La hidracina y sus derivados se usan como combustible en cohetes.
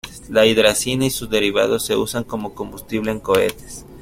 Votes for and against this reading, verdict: 2, 1, accepted